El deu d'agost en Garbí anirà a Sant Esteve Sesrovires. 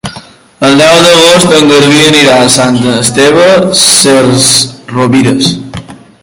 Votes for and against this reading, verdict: 1, 2, rejected